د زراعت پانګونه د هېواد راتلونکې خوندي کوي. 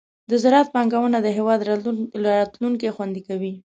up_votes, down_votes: 0, 2